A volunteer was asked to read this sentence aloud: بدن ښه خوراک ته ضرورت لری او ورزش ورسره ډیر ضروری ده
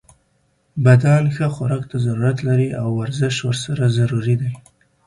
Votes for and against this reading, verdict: 1, 2, rejected